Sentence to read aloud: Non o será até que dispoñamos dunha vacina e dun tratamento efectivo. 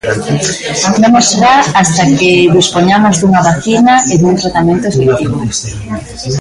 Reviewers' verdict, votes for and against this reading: rejected, 1, 2